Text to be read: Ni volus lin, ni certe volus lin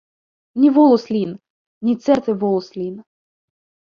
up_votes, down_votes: 1, 2